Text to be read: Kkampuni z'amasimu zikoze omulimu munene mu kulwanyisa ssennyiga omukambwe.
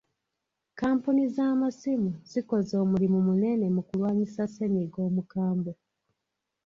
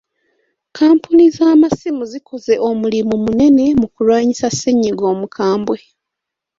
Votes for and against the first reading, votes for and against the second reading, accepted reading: 0, 2, 2, 0, second